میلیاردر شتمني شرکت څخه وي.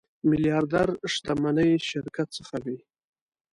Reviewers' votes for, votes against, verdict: 0, 2, rejected